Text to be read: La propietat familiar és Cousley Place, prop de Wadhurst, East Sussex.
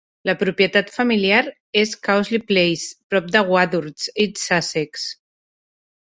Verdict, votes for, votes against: accepted, 2, 0